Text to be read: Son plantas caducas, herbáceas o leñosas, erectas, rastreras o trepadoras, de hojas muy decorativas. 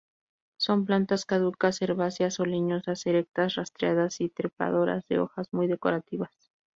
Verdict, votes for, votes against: rejected, 0, 2